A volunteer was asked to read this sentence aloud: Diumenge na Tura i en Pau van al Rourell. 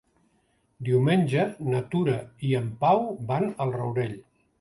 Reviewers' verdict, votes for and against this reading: accepted, 2, 0